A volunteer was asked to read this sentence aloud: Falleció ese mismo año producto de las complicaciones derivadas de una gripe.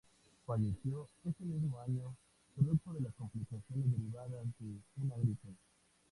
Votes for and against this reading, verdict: 0, 2, rejected